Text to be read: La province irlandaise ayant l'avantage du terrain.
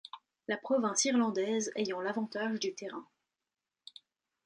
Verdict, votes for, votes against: accepted, 2, 0